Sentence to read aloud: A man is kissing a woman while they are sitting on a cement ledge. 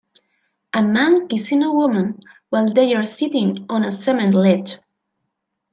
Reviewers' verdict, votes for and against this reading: rejected, 0, 2